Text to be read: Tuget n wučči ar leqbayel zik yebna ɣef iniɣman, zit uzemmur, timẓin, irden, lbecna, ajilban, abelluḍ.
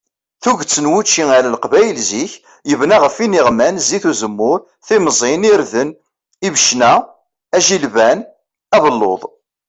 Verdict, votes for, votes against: rejected, 1, 2